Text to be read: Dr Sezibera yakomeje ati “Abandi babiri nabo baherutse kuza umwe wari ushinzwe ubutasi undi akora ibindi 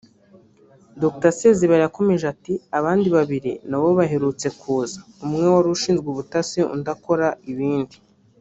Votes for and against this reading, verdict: 1, 2, rejected